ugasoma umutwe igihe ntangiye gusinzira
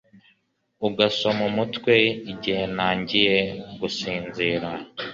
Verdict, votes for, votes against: accepted, 2, 0